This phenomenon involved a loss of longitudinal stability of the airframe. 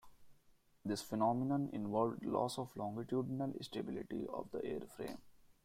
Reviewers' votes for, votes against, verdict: 2, 1, accepted